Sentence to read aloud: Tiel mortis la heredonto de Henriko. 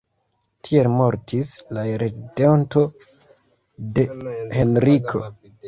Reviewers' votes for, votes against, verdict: 1, 2, rejected